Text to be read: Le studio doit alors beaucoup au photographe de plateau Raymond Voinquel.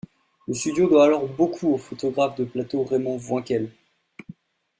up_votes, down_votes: 2, 0